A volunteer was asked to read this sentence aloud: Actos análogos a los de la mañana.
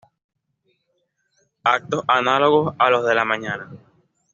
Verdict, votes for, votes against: accepted, 2, 0